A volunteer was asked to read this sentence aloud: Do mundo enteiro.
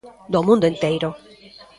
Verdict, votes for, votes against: rejected, 1, 2